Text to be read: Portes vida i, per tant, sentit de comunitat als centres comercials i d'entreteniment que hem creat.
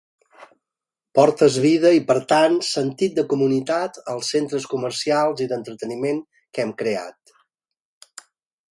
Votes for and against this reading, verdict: 3, 0, accepted